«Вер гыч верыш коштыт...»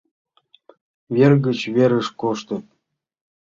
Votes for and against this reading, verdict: 2, 0, accepted